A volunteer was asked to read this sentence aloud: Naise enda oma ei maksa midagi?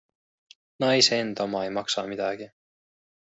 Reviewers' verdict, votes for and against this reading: accepted, 2, 0